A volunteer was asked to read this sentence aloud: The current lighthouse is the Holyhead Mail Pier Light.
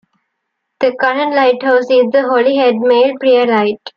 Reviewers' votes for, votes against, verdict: 2, 1, accepted